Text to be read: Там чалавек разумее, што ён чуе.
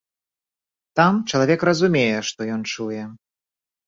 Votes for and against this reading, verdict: 3, 0, accepted